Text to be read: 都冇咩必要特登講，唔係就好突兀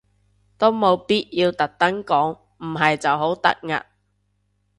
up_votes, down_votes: 2, 0